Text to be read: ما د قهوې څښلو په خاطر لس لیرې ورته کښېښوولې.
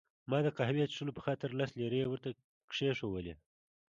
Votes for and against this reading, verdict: 1, 2, rejected